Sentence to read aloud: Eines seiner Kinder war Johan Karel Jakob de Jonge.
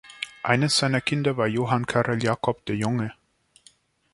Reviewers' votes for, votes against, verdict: 2, 0, accepted